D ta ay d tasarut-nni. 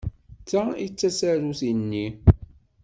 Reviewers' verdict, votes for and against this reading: accepted, 2, 0